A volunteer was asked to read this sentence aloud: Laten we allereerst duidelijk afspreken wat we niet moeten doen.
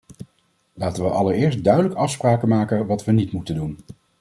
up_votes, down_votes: 1, 2